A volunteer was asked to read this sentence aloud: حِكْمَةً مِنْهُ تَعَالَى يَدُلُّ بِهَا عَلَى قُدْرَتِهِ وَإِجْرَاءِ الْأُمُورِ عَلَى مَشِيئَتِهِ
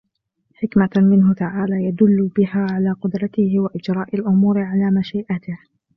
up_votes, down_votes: 2, 0